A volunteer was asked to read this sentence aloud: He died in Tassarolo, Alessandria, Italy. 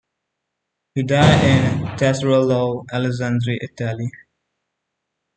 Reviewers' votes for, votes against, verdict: 0, 2, rejected